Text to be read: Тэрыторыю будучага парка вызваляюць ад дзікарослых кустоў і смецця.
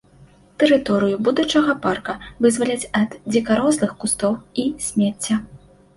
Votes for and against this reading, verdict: 1, 2, rejected